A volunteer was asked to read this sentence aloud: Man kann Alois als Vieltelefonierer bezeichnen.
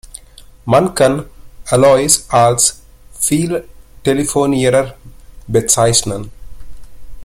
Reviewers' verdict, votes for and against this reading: rejected, 1, 2